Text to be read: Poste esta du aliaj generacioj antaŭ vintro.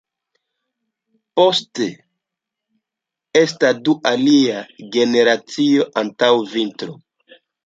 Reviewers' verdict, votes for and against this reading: rejected, 0, 2